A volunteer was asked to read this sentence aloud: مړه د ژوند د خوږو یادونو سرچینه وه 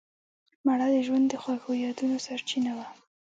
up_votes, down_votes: 2, 0